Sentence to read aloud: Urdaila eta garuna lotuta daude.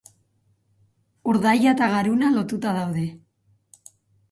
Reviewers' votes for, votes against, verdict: 10, 0, accepted